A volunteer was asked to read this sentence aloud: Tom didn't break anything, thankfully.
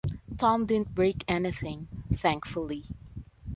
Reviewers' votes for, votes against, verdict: 2, 0, accepted